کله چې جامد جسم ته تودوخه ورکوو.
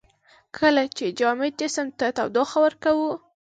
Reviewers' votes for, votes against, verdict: 2, 0, accepted